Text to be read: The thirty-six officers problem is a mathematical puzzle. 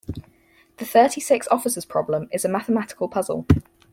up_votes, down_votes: 4, 0